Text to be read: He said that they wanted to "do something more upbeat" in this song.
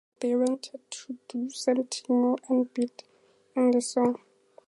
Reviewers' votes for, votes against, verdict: 0, 4, rejected